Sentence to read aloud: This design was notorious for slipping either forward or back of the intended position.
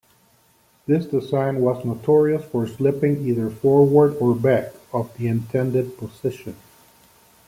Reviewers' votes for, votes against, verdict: 1, 2, rejected